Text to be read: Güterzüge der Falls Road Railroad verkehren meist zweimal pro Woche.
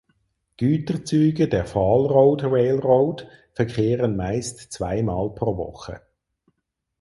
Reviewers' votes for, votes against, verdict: 0, 4, rejected